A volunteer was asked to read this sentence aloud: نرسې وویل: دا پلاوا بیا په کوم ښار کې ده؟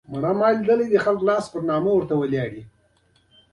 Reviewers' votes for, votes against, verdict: 1, 2, rejected